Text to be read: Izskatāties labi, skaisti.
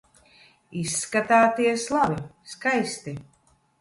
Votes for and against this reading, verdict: 2, 0, accepted